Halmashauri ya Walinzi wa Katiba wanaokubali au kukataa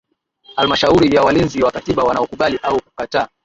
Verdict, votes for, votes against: accepted, 2, 0